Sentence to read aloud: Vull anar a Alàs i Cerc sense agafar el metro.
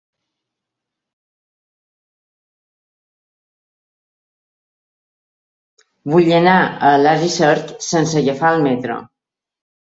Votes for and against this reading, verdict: 1, 2, rejected